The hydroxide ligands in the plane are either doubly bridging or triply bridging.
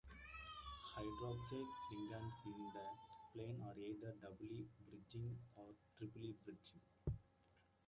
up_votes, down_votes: 2, 1